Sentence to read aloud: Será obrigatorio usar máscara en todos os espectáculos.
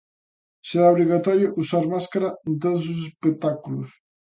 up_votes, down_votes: 2, 0